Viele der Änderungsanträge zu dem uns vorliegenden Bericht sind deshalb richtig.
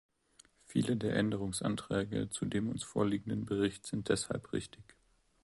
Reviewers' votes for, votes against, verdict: 2, 0, accepted